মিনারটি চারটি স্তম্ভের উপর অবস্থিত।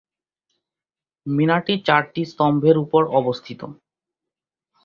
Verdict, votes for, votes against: accepted, 10, 1